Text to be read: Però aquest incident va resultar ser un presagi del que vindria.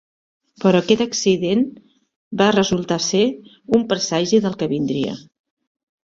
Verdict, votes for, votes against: rejected, 0, 2